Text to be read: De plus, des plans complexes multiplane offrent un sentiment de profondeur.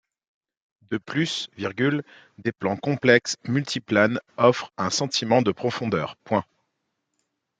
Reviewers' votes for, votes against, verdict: 1, 2, rejected